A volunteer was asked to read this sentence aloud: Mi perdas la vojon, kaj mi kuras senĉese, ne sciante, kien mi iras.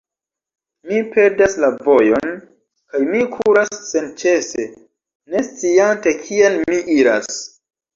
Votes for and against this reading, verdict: 1, 2, rejected